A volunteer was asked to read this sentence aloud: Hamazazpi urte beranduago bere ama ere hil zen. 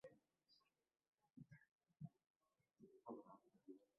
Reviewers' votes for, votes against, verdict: 0, 2, rejected